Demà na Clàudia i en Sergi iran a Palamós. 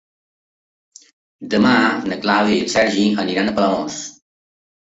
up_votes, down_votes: 0, 2